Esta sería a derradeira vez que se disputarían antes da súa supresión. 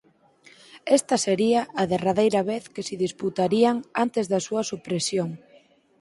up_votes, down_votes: 6, 0